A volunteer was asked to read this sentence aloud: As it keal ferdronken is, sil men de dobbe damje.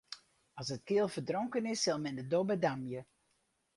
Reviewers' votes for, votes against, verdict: 2, 0, accepted